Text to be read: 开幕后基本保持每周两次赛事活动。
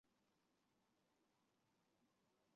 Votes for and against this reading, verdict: 0, 2, rejected